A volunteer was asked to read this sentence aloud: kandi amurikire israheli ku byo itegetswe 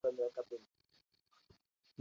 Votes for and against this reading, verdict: 0, 2, rejected